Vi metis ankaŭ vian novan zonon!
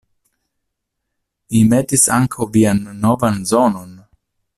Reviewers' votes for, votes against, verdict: 2, 1, accepted